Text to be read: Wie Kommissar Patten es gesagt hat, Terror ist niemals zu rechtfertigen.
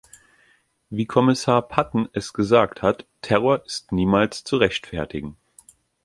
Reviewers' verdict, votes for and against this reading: accepted, 2, 0